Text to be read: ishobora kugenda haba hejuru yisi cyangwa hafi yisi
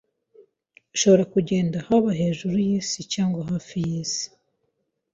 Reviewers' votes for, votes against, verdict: 2, 0, accepted